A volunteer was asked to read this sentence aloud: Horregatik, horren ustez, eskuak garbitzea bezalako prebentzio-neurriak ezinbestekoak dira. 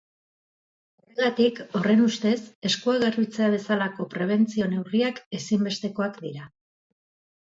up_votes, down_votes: 0, 2